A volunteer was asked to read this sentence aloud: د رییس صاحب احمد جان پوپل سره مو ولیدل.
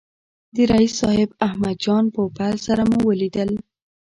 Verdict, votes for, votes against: accepted, 2, 0